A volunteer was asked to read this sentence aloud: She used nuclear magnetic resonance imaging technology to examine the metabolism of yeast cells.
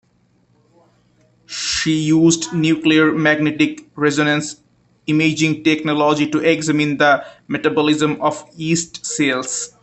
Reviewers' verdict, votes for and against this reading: accepted, 2, 0